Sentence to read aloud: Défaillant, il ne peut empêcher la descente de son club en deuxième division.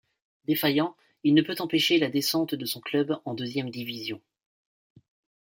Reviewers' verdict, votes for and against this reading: accepted, 2, 0